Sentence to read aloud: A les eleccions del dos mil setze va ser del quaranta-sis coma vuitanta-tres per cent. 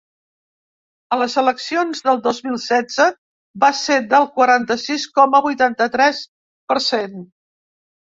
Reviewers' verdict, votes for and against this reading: accepted, 4, 0